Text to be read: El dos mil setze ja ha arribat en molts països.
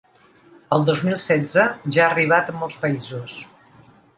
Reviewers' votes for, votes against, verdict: 2, 0, accepted